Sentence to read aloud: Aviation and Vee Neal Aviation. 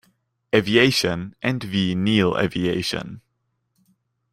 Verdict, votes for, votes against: accepted, 2, 0